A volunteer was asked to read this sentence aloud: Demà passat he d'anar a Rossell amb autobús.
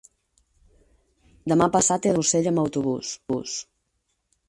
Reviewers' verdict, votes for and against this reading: rejected, 0, 4